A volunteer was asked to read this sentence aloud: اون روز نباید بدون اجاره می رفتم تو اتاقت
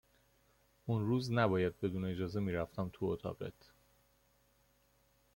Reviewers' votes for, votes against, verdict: 2, 0, accepted